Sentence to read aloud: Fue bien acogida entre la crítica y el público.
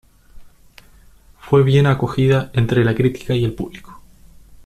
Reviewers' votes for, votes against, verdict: 2, 0, accepted